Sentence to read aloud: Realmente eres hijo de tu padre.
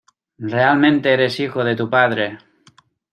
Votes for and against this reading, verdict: 2, 0, accepted